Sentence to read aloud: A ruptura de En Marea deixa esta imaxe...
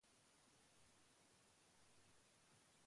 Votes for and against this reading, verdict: 0, 2, rejected